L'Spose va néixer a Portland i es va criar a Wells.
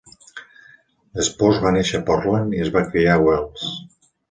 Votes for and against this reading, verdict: 2, 0, accepted